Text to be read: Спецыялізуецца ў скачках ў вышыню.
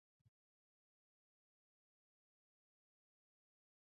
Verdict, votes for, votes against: rejected, 0, 3